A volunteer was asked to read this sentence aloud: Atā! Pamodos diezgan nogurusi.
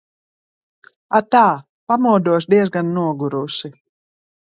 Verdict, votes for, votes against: accepted, 3, 0